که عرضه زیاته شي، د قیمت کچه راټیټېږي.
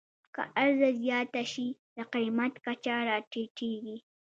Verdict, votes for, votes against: accepted, 2, 1